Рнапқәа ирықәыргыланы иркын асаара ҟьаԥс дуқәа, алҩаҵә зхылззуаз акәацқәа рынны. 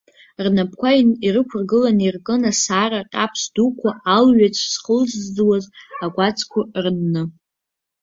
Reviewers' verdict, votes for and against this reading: rejected, 1, 2